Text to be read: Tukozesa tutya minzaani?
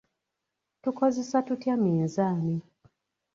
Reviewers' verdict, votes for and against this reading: accepted, 2, 0